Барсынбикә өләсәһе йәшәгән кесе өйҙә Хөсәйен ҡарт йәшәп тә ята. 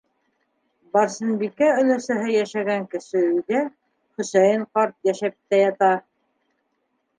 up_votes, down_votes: 1, 2